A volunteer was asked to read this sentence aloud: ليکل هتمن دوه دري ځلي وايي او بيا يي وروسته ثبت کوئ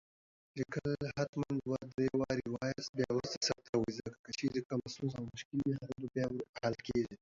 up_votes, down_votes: 1, 2